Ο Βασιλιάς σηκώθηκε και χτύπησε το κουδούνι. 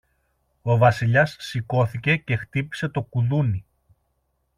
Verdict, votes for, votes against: accepted, 2, 0